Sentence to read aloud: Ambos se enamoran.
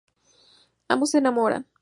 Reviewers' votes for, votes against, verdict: 2, 0, accepted